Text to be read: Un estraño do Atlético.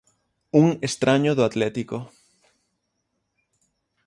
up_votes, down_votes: 6, 0